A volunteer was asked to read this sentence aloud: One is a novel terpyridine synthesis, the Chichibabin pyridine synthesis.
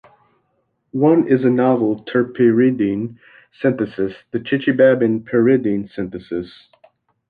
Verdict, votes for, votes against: accepted, 2, 1